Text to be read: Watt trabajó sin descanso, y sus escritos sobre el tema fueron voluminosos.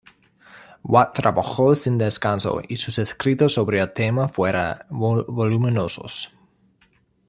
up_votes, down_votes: 0, 2